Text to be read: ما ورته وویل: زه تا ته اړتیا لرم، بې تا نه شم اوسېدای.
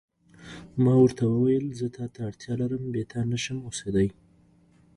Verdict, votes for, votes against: accepted, 2, 0